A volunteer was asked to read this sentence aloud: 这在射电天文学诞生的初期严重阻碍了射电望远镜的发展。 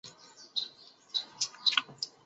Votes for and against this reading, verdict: 2, 3, rejected